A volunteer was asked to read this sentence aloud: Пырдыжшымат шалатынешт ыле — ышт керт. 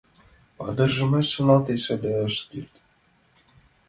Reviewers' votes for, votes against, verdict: 0, 2, rejected